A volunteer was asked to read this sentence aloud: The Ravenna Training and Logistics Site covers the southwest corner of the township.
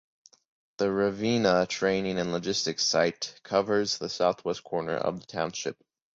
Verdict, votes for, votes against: accepted, 2, 0